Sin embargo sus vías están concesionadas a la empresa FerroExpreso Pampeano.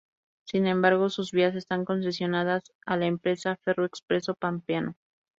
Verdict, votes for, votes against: accepted, 4, 0